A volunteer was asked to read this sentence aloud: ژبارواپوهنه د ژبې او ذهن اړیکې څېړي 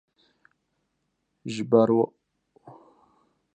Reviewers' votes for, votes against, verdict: 1, 2, rejected